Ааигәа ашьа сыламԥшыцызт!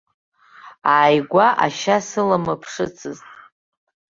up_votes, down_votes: 1, 3